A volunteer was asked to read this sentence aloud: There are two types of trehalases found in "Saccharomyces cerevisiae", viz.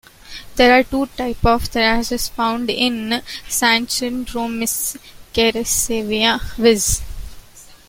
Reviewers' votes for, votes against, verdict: 0, 2, rejected